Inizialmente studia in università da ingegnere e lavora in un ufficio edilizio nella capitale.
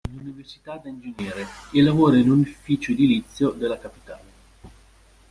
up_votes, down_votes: 0, 2